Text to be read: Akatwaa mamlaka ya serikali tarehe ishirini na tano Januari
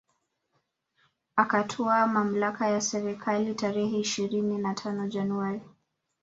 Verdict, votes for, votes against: accepted, 2, 0